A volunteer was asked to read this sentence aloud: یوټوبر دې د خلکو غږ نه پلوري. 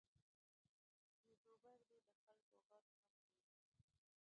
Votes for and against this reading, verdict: 0, 2, rejected